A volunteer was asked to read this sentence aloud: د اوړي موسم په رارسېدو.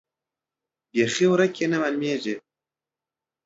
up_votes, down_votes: 1, 2